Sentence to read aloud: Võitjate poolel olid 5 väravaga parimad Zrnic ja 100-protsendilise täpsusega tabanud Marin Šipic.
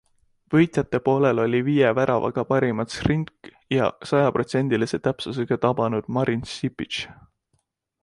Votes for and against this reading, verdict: 0, 2, rejected